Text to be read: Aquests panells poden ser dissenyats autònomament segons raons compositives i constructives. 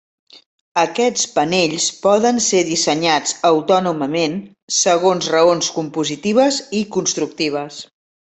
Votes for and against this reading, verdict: 1, 2, rejected